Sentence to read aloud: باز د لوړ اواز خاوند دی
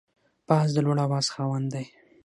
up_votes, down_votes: 6, 3